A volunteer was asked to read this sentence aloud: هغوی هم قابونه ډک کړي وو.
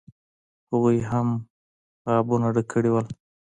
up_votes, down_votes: 2, 0